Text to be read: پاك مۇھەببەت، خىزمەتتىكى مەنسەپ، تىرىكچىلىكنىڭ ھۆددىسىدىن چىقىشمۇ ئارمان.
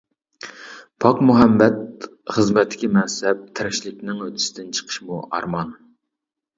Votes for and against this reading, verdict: 0, 2, rejected